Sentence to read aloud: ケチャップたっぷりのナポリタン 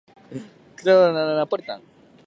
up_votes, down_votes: 0, 2